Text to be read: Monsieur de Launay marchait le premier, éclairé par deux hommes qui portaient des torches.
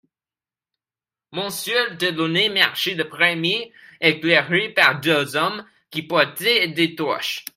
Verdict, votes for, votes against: rejected, 1, 2